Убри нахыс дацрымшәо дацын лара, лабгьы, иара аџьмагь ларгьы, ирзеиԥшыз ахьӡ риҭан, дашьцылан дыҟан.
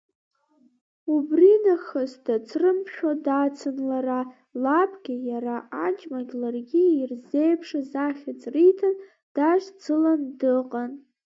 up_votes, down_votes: 2, 1